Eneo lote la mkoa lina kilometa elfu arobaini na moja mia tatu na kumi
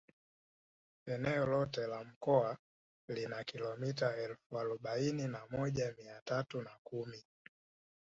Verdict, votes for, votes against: accepted, 2, 0